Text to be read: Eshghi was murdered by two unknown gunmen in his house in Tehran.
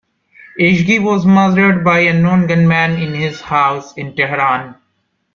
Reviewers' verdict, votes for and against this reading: rejected, 0, 2